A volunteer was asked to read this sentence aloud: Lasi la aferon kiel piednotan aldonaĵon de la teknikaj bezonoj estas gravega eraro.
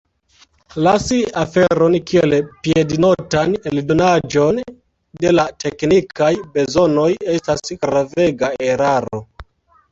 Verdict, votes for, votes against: rejected, 0, 2